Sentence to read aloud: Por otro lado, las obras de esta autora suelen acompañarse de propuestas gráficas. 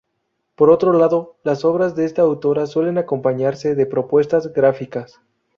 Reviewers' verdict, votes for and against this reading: accepted, 2, 0